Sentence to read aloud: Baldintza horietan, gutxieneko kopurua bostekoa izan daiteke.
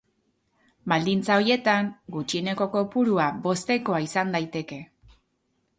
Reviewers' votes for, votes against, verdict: 0, 2, rejected